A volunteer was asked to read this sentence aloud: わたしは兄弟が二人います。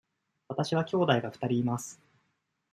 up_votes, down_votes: 2, 0